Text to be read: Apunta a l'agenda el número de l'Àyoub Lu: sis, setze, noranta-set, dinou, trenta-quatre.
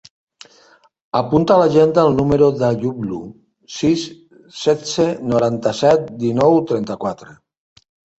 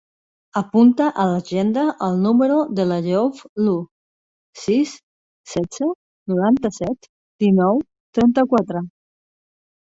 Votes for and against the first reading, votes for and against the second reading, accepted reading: 1, 2, 5, 1, second